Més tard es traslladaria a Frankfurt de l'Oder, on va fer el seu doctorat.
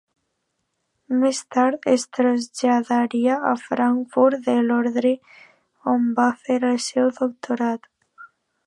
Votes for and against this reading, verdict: 0, 2, rejected